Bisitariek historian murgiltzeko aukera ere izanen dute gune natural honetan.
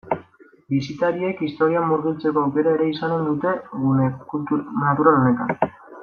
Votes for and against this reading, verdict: 1, 2, rejected